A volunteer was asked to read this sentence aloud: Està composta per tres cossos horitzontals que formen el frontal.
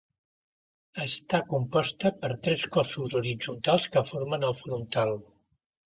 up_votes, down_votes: 2, 0